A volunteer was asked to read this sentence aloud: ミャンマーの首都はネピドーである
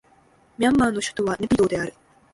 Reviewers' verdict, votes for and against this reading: rejected, 1, 2